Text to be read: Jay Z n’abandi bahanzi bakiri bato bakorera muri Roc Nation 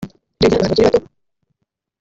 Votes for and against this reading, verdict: 0, 2, rejected